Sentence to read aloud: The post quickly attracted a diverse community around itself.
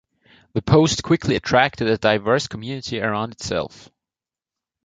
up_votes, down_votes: 2, 0